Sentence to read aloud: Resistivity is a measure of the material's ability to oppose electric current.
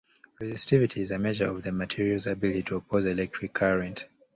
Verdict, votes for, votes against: accepted, 2, 1